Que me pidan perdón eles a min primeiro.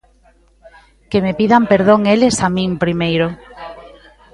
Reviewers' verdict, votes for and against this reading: rejected, 0, 2